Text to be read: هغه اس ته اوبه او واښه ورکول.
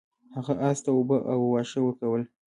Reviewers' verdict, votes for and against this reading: accepted, 2, 1